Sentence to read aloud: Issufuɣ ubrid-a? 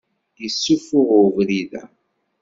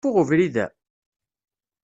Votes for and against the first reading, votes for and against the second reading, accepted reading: 2, 0, 0, 2, first